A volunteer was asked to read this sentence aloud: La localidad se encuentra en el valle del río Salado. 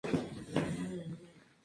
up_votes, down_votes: 0, 2